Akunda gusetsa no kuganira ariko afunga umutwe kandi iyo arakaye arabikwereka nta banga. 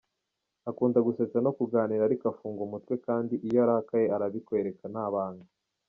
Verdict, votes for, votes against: accepted, 2, 0